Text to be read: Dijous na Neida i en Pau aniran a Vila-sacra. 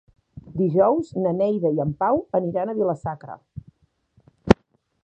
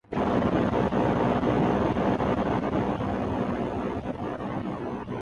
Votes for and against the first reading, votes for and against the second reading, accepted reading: 2, 0, 0, 2, first